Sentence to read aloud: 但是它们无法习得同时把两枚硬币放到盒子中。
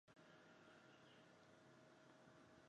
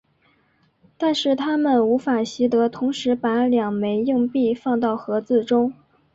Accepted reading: second